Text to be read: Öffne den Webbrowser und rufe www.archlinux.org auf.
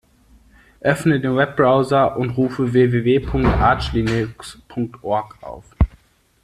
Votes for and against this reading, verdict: 2, 0, accepted